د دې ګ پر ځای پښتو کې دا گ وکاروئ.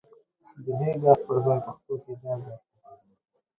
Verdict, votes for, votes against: rejected, 1, 2